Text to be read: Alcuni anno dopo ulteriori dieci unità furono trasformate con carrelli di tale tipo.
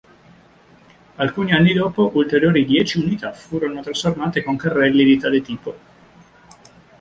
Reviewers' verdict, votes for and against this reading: rejected, 1, 2